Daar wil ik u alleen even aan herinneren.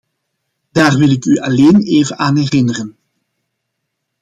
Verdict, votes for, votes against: accepted, 2, 0